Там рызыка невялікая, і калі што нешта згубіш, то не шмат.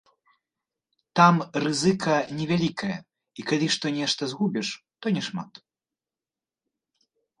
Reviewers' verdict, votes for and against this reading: rejected, 1, 2